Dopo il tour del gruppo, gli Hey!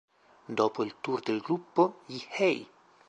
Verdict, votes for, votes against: accepted, 2, 0